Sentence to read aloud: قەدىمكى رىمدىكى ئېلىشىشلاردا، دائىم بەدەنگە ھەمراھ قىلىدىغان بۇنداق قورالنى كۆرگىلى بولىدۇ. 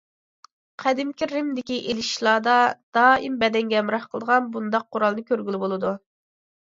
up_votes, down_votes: 2, 1